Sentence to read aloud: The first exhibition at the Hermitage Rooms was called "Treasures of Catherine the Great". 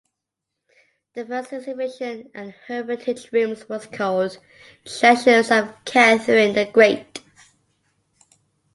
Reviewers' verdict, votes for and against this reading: rejected, 1, 2